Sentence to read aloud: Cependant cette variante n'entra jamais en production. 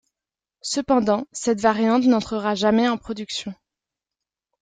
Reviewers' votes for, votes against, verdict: 0, 2, rejected